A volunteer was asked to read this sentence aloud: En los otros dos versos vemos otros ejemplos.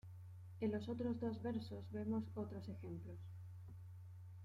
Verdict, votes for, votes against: accepted, 2, 0